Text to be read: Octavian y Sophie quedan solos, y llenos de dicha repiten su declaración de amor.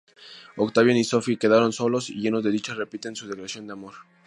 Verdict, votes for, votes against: rejected, 0, 2